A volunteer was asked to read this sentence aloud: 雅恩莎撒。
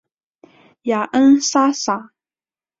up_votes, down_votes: 6, 3